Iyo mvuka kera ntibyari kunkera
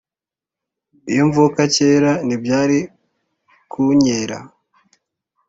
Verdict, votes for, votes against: accepted, 3, 0